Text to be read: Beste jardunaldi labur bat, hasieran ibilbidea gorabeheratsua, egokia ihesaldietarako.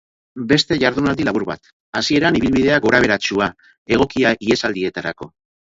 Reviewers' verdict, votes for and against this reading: accepted, 4, 0